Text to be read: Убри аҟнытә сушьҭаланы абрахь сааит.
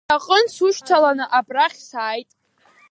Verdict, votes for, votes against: rejected, 1, 4